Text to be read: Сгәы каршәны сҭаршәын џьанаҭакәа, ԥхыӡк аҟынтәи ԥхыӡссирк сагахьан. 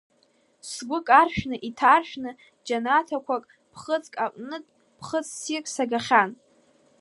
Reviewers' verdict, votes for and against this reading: rejected, 1, 2